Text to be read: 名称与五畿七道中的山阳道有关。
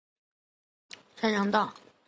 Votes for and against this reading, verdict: 0, 3, rejected